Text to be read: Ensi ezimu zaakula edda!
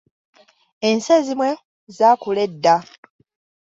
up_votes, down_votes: 1, 2